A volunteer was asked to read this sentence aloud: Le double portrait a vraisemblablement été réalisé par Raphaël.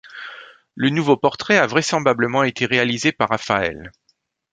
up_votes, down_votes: 1, 2